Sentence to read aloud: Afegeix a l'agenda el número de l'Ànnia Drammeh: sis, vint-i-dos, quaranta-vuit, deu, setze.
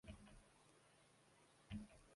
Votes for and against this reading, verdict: 0, 2, rejected